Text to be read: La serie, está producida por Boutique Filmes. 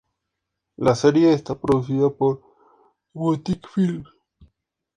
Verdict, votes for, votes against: accepted, 4, 0